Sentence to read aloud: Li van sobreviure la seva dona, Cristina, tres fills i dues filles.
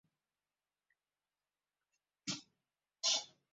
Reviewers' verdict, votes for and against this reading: rejected, 0, 2